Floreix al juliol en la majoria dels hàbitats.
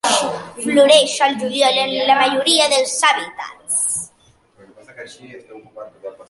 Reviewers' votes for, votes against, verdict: 2, 0, accepted